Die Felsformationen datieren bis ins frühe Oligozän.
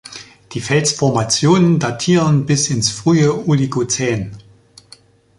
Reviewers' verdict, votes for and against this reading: accepted, 2, 0